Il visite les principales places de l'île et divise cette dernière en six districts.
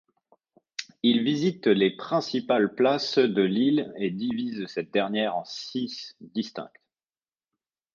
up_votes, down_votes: 1, 2